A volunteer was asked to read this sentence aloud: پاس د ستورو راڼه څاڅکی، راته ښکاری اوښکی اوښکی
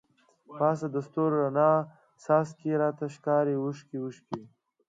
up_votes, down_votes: 2, 1